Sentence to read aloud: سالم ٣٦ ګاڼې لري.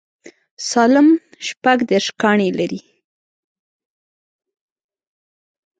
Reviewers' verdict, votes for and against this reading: rejected, 0, 2